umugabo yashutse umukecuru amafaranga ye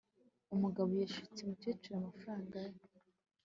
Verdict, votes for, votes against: accepted, 3, 0